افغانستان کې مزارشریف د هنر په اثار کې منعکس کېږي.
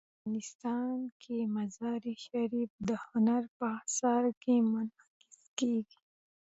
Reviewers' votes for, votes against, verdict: 0, 2, rejected